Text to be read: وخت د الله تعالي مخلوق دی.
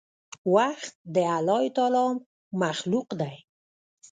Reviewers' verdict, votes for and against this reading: rejected, 0, 2